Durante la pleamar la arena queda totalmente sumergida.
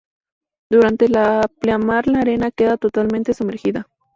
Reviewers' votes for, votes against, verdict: 2, 0, accepted